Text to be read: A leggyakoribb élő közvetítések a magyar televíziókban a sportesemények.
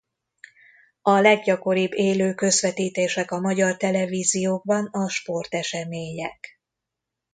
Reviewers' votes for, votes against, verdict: 2, 0, accepted